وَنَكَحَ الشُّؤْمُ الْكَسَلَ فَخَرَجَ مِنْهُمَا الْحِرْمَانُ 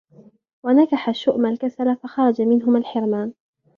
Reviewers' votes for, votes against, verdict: 1, 2, rejected